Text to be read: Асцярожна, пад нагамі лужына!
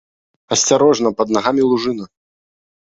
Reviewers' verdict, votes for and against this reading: rejected, 1, 2